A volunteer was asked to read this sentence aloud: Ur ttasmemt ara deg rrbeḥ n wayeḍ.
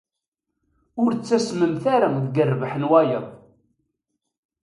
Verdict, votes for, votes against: accepted, 2, 0